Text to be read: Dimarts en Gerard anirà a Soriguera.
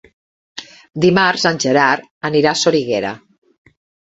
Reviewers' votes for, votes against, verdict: 4, 0, accepted